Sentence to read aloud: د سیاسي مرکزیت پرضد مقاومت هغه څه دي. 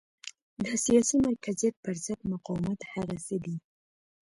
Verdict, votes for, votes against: accepted, 2, 0